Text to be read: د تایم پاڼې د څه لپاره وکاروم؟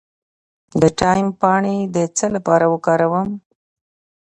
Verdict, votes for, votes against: accepted, 2, 0